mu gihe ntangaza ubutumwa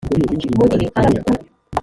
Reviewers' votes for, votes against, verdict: 0, 2, rejected